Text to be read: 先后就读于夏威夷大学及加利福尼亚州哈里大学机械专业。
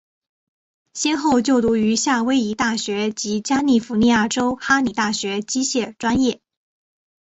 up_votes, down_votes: 3, 1